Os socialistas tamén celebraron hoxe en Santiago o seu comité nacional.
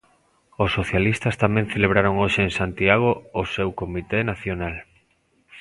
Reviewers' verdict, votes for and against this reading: accepted, 3, 0